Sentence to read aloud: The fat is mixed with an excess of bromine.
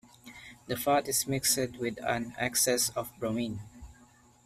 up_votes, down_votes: 2, 1